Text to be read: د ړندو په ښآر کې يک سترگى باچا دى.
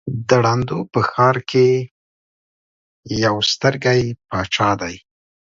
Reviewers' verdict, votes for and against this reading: accepted, 3, 0